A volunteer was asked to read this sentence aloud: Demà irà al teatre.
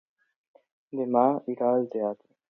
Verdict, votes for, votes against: accepted, 2, 0